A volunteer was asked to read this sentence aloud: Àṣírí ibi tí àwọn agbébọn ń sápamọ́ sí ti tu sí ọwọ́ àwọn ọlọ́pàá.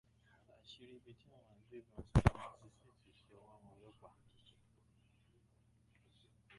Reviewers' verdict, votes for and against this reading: rejected, 0, 2